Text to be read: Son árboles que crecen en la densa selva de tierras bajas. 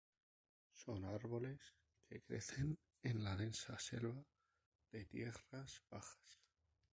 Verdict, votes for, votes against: rejected, 0, 2